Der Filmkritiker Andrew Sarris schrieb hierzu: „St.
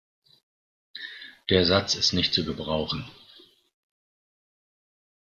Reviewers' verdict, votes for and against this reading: rejected, 0, 2